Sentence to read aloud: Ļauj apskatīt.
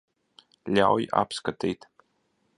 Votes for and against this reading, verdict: 1, 2, rejected